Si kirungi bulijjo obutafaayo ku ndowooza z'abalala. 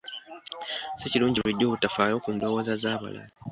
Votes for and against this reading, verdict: 2, 0, accepted